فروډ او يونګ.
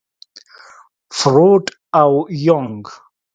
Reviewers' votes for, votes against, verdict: 2, 0, accepted